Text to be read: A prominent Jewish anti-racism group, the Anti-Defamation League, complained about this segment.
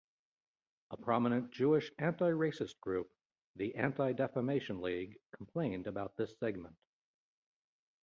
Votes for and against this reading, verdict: 1, 2, rejected